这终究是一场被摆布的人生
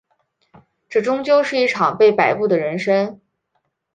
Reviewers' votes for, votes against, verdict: 2, 0, accepted